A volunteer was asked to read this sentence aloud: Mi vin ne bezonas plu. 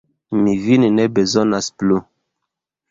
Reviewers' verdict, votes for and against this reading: accepted, 2, 0